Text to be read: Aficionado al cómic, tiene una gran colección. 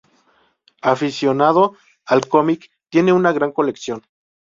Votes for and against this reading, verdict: 2, 0, accepted